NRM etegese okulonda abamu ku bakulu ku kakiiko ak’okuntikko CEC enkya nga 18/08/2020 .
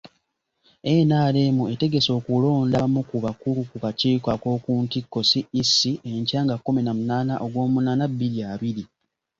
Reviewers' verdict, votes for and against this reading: rejected, 0, 2